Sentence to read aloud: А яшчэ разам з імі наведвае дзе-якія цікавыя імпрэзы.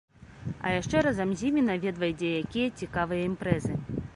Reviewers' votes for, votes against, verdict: 2, 0, accepted